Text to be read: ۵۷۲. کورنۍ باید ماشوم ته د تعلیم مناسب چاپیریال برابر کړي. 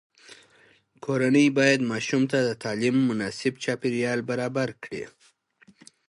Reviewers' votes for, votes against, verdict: 0, 2, rejected